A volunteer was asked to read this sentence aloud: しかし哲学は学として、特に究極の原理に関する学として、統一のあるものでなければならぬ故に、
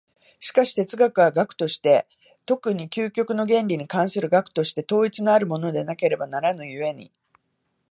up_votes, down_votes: 2, 0